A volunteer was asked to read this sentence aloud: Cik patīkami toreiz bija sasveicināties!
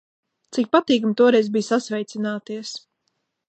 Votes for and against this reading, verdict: 2, 0, accepted